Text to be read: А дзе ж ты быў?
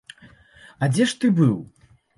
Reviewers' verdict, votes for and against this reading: accepted, 2, 0